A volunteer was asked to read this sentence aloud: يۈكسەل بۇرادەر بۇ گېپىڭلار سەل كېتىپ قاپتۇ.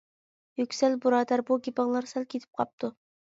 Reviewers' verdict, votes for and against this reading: accepted, 2, 0